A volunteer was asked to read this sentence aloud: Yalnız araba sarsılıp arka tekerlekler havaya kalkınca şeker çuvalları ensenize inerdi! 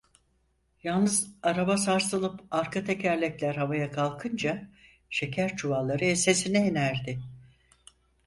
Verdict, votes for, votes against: rejected, 0, 4